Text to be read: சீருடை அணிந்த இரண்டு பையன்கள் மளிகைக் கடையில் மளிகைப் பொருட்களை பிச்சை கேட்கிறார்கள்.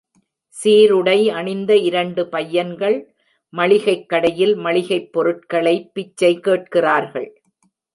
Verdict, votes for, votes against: accepted, 2, 0